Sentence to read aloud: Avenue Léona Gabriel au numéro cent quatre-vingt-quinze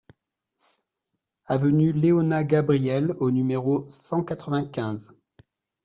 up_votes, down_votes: 2, 0